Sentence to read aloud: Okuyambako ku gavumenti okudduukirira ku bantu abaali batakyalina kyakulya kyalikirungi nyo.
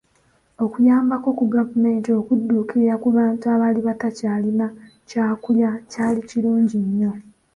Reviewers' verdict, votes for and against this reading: accepted, 2, 0